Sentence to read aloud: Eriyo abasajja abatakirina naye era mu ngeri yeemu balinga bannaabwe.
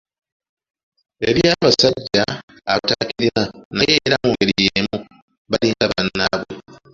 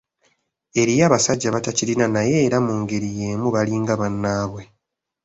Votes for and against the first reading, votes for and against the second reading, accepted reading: 1, 2, 2, 0, second